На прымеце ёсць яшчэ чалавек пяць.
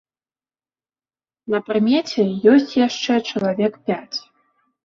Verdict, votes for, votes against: accepted, 2, 0